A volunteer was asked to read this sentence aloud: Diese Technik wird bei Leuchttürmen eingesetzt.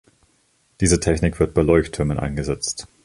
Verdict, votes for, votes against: accepted, 2, 0